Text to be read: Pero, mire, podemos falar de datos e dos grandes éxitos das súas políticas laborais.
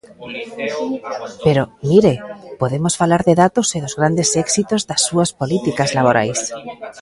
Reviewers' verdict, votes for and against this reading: rejected, 1, 2